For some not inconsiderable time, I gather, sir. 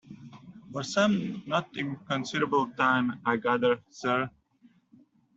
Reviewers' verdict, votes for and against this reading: accepted, 2, 0